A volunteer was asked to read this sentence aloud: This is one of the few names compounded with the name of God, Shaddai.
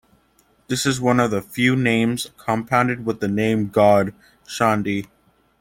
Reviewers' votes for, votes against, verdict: 0, 2, rejected